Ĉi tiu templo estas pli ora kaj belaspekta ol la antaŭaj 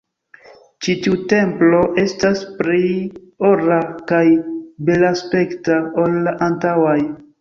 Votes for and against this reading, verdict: 1, 2, rejected